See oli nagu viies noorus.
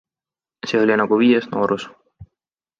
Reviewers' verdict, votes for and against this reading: accepted, 2, 0